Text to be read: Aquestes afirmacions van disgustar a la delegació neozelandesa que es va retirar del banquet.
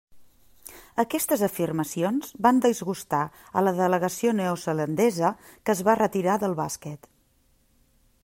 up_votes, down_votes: 1, 2